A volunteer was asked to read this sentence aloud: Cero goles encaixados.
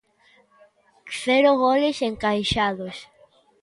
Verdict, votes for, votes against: accepted, 2, 0